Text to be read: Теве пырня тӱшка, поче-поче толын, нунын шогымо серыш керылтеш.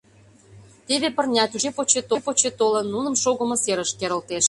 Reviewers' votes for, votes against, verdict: 0, 2, rejected